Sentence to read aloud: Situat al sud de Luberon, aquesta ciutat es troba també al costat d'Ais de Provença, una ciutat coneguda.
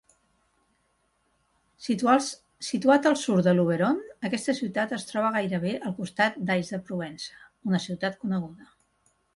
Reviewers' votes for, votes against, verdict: 0, 2, rejected